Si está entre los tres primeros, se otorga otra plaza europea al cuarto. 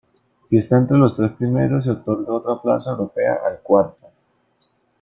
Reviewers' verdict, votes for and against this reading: accepted, 2, 1